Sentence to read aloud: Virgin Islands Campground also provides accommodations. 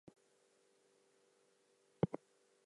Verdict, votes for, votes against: rejected, 0, 4